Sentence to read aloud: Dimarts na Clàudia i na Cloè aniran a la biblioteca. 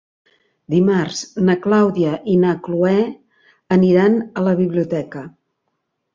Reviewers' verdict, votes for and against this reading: accepted, 3, 0